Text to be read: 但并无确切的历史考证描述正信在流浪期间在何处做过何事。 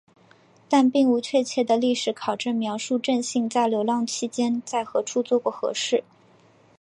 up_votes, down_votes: 3, 1